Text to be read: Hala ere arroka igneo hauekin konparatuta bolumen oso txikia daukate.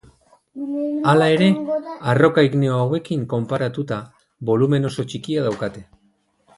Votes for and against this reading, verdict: 2, 4, rejected